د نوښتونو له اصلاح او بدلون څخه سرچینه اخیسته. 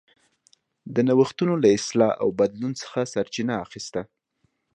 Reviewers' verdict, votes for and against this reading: accepted, 2, 0